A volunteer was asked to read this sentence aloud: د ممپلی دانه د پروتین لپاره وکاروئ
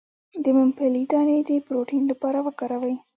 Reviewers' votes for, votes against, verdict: 2, 0, accepted